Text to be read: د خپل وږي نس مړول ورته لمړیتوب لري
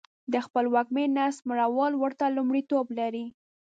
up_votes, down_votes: 0, 2